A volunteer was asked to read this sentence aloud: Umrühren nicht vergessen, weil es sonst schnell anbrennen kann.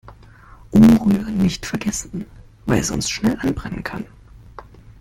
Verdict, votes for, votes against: rejected, 1, 2